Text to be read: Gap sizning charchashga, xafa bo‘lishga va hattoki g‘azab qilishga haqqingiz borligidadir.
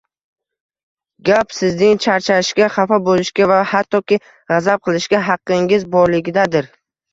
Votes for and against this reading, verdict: 1, 2, rejected